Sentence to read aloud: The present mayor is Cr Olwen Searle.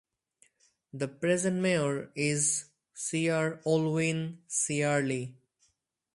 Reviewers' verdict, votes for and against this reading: rejected, 2, 2